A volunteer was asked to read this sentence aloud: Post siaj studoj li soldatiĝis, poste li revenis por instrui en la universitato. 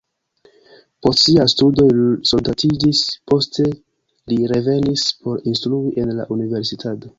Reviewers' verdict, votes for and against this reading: accepted, 2, 1